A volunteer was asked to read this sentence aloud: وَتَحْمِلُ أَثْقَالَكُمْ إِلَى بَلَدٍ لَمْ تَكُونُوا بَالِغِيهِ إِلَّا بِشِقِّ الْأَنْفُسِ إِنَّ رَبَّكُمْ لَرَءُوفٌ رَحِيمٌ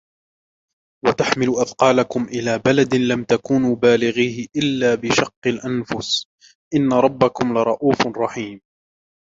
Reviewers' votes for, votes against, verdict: 0, 2, rejected